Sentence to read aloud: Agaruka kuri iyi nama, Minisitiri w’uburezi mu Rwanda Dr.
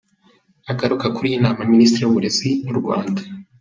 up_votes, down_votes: 1, 2